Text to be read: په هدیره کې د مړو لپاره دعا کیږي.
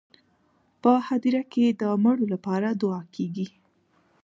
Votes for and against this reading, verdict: 2, 1, accepted